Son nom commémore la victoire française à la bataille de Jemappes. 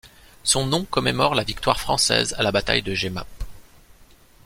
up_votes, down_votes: 2, 0